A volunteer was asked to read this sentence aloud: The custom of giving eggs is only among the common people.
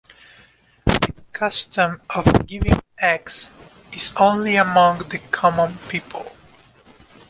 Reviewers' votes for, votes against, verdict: 1, 2, rejected